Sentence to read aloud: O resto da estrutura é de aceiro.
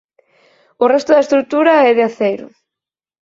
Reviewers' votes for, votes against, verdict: 4, 0, accepted